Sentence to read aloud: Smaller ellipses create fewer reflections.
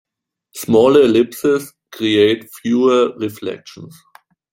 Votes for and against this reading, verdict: 2, 1, accepted